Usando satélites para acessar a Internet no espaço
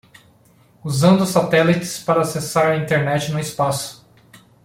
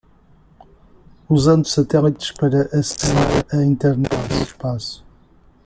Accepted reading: first